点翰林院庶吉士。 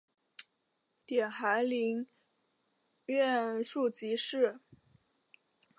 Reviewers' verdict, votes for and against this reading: accepted, 3, 0